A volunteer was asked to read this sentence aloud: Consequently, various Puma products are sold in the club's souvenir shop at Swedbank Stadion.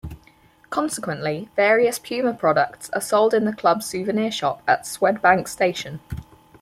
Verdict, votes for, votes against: rejected, 2, 4